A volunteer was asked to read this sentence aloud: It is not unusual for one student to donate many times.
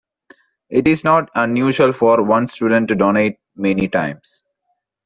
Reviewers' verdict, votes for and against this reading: accepted, 2, 1